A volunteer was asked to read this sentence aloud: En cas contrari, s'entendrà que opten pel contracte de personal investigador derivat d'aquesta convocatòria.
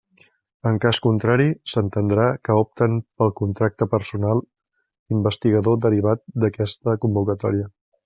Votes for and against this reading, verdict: 1, 2, rejected